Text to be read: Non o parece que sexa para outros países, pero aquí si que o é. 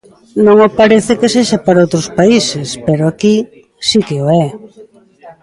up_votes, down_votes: 2, 0